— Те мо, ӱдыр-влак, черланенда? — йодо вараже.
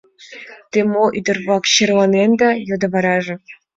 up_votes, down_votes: 2, 1